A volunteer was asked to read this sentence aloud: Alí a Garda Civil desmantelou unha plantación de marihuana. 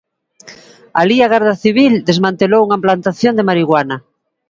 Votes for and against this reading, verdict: 2, 0, accepted